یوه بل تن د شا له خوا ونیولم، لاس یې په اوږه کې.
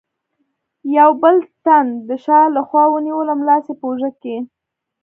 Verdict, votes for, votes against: rejected, 1, 2